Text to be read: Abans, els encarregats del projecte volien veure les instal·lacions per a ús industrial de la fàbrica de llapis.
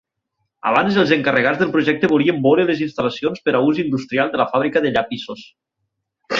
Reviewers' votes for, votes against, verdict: 0, 6, rejected